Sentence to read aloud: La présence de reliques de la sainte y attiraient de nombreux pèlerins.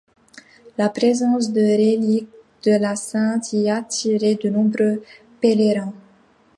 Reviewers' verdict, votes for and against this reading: rejected, 1, 2